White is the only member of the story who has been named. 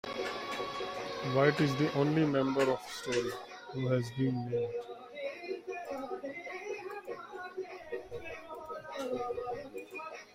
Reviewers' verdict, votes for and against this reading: rejected, 0, 2